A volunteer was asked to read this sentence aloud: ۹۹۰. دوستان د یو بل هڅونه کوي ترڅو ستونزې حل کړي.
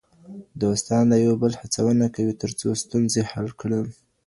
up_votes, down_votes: 0, 2